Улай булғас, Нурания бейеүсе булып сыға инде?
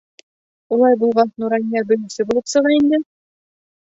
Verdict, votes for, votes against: rejected, 1, 2